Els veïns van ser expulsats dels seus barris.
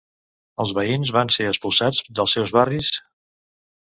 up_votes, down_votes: 1, 2